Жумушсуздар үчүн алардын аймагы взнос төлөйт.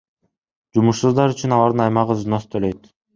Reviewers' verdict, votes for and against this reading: accepted, 2, 0